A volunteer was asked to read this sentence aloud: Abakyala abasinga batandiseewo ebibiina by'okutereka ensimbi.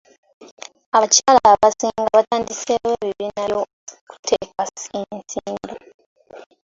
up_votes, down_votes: 0, 2